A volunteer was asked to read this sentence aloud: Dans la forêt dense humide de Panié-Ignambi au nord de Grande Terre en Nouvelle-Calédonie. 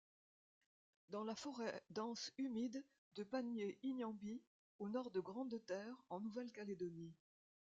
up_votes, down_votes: 0, 2